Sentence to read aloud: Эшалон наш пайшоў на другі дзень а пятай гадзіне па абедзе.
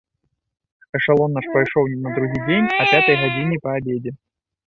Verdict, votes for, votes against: rejected, 1, 2